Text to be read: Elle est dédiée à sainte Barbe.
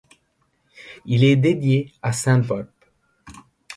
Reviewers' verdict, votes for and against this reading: rejected, 1, 2